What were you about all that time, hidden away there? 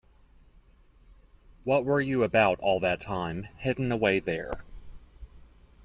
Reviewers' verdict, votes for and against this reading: accepted, 2, 0